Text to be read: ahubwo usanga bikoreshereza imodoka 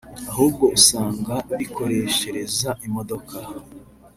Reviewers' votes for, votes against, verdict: 3, 0, accepted